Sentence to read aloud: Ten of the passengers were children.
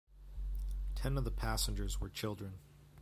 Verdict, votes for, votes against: rejected, 0, 2